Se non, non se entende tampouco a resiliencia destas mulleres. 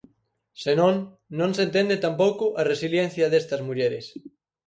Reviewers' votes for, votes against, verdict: 4, 0, accepted